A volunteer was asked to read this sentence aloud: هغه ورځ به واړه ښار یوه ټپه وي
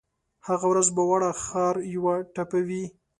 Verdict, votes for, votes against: accepted, 2, 0